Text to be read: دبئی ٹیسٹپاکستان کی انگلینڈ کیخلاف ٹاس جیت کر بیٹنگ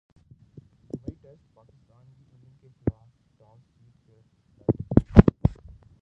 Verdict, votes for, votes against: rejected, 0, 2